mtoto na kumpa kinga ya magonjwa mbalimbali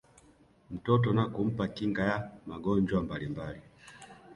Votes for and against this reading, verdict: 1, 3, rejected